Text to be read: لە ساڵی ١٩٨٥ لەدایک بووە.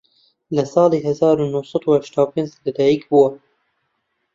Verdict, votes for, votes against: rejected, 0, 2